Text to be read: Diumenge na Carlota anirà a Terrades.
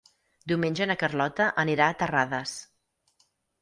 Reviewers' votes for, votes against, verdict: 8, 0, accepted